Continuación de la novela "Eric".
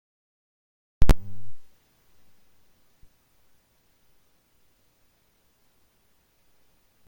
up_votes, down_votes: 0, 2